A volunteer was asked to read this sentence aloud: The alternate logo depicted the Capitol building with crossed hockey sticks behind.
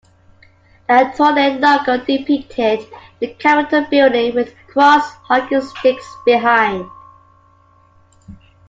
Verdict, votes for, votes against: rejected, 0, 2